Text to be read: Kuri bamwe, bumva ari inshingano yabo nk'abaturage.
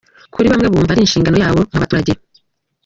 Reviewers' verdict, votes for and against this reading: accepted, 2, 1